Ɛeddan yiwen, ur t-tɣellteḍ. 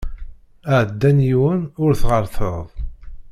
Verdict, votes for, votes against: rejected, 1, 2